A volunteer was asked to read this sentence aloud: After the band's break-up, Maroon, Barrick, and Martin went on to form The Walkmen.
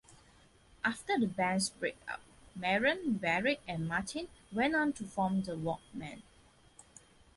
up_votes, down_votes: 3, 0